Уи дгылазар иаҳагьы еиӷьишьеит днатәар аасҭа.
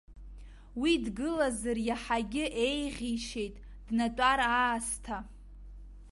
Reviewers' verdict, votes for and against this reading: accepted, 2, 0